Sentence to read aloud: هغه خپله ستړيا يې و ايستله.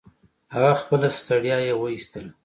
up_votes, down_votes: 2, 0